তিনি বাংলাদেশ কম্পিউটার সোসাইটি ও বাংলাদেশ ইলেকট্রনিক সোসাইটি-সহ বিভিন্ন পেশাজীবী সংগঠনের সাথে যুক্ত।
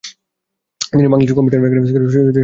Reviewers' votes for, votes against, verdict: 1, 4, rejected